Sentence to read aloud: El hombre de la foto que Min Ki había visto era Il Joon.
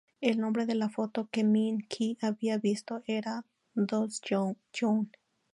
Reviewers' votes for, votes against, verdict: 0, 4, rejected